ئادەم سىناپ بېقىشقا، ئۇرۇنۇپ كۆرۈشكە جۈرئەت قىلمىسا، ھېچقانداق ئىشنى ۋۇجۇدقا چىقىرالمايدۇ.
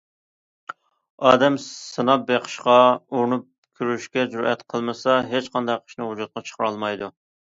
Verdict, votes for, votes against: accepted, 2, 0